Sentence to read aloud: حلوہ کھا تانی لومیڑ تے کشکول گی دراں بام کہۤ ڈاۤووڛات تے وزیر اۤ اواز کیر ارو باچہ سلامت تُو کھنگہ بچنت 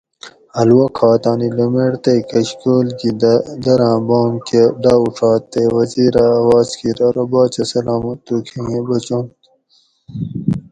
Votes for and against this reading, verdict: 2, 2, rejected